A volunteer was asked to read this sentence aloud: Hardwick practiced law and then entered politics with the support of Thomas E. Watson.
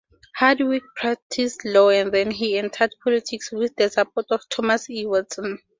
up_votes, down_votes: 4, 0